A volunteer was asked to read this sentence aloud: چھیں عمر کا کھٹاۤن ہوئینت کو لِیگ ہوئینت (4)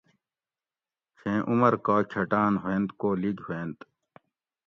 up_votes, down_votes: 0, 2